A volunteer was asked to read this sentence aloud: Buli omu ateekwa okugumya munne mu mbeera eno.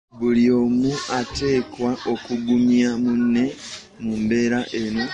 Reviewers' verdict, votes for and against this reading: rejected, 1, 2